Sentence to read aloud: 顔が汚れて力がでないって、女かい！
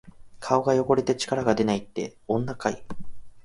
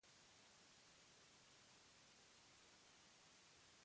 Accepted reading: first